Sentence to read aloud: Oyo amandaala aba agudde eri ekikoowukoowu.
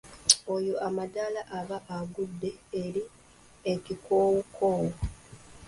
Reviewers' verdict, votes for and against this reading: accepted, 2, 0